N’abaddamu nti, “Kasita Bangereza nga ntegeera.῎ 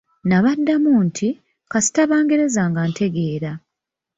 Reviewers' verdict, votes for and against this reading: rejected, 1, 2